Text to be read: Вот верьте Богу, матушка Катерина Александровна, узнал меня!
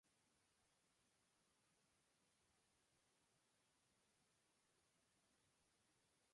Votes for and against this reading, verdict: 0, 2, rejected